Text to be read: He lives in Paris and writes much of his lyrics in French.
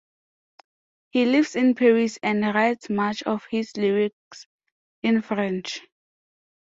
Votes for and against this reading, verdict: 2, 0, accepted